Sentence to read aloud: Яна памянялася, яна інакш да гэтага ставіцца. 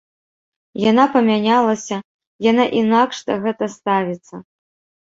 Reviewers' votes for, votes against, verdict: 1, 2, rejected